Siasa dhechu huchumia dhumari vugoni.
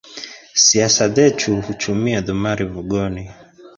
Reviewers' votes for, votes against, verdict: 1, 2, rejected